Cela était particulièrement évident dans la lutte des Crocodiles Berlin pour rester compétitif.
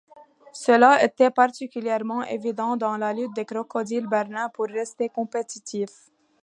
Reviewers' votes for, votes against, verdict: 2, 0, accepted